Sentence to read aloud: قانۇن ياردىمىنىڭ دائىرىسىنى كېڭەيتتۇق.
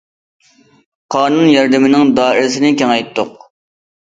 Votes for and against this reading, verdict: 2, 0, accepted